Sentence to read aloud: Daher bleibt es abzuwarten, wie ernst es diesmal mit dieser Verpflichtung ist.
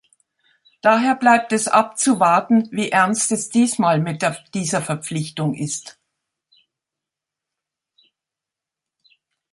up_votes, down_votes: 0, 2